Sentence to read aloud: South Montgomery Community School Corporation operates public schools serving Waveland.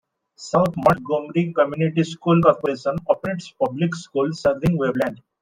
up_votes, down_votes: 2, 1